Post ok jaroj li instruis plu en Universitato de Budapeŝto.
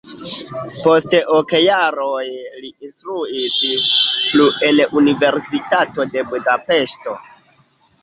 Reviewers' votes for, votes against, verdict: 3, 1, accepted